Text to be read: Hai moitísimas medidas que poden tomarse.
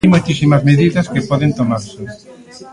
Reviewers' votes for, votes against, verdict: 0, 3, rejected